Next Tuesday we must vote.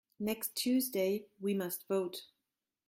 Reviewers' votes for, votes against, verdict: 2, 0, accepted